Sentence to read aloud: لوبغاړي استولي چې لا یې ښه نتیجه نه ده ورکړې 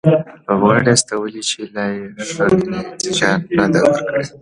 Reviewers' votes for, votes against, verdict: 2, 1, accepted